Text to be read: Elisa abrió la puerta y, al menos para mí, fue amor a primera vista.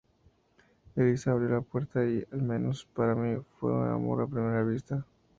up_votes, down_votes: 0, 4